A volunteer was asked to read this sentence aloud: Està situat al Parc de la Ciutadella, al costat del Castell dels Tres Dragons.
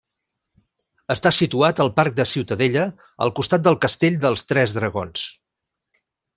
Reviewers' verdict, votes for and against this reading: rejected, 0, 2